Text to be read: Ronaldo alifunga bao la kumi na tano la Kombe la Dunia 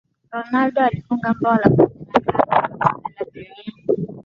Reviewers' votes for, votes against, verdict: 0, 2, rejected